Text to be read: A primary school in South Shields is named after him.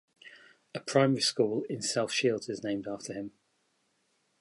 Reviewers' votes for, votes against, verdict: 2, 0, accepted